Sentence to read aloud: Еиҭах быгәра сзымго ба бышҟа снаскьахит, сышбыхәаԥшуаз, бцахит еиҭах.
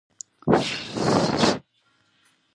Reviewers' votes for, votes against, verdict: 0, 2, rejected